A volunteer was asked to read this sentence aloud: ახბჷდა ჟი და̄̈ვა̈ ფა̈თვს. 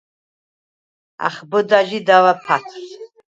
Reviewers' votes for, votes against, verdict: 4, 0, accepted